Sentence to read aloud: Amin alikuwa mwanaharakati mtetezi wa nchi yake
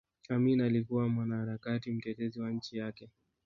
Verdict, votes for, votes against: accepted, 2, 1